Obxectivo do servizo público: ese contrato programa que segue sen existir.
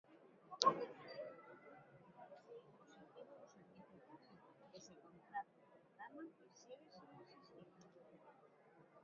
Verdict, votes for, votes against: rejected, 0, 3